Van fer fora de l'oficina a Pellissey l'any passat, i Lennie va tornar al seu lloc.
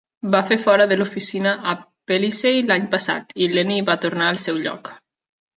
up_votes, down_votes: 1, 2